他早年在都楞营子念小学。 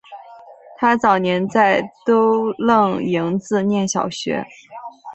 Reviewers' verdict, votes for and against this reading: accepted, 2, 0